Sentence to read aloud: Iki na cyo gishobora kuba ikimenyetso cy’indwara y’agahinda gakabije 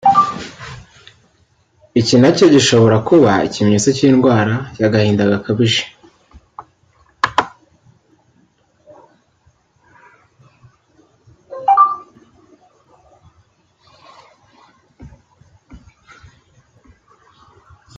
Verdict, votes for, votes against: rejected, 0, 2